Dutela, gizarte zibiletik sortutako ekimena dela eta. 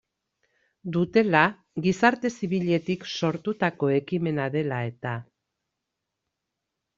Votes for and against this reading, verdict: 2, 0, accepted